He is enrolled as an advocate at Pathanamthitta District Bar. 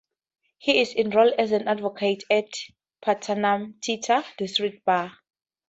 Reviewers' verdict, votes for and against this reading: rejected, 0, 2